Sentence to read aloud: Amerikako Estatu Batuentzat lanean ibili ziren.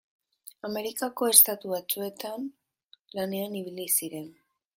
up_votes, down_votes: 0, 2